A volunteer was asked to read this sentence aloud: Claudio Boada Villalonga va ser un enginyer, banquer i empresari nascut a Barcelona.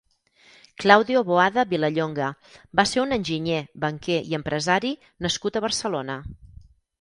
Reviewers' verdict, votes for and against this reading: rejected, 2, 4